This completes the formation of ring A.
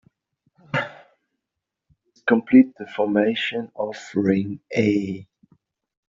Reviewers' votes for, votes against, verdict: 0, 2, rejected